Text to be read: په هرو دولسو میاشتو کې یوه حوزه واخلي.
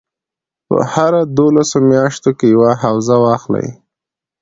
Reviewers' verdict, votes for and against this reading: accepted, 2, 0